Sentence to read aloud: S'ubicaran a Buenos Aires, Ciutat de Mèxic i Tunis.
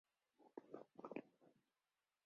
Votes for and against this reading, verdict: 0, 2, rejected